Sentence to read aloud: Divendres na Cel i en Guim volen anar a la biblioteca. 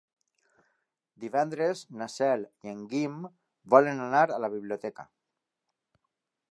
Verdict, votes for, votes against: accepted, 3, 0